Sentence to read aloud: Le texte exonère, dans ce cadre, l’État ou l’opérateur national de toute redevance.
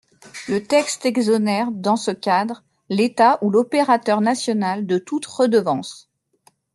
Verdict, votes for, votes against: accepted, 2, 0